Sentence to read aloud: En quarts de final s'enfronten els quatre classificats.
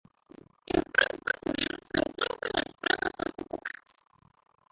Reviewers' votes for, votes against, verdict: 0, 2, rejected